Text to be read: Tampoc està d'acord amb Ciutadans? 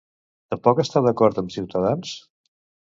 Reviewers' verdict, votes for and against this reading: rejected, 0, 2